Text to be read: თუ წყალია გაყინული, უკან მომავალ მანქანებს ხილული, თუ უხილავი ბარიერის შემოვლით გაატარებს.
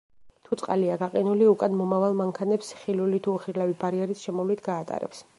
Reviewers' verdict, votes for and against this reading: accepted, 2, 0